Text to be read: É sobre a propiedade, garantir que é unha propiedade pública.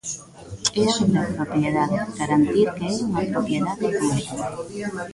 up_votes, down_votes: 0, 2